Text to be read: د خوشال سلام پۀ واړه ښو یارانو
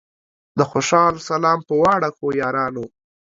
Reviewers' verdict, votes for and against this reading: accepted, 2, 0